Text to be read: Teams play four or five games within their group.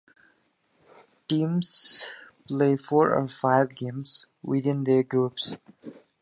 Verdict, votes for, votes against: accepted, 2, 0